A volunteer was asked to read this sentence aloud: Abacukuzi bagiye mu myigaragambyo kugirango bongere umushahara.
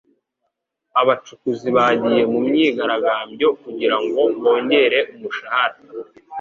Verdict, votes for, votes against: accepted, 2, 0